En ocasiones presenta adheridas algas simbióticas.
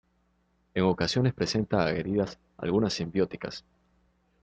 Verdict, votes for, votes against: rejected, 1, 2